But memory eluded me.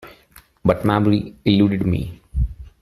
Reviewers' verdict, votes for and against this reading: rejected, 1, 2